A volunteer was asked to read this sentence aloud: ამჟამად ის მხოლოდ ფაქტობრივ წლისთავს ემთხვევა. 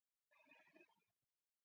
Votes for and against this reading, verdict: 0, 2, rejected